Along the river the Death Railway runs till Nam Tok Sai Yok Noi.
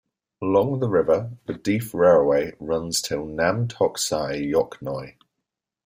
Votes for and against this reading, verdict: 1, 2, rejected